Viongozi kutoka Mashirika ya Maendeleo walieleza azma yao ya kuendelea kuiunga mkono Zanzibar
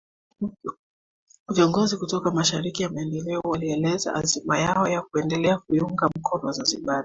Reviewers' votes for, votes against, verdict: 1, 2, rejected